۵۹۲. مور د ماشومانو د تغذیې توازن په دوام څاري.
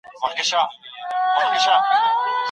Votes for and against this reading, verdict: 0, 2, rejected